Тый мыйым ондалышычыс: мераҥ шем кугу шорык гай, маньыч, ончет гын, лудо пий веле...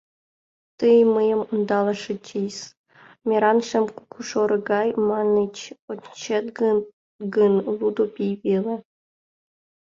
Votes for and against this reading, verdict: 1, 5, rejected